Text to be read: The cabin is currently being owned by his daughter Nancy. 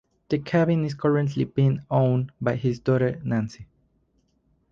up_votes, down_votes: 4, 0